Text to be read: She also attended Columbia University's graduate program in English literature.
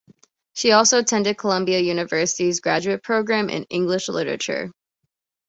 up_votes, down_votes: 2, 0